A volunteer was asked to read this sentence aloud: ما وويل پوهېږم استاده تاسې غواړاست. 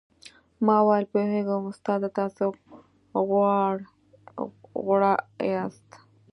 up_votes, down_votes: 1, 2